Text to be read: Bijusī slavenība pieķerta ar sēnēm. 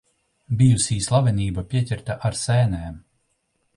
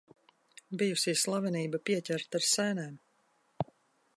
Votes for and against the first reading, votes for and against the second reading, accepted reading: 1, 2, 2, 0, second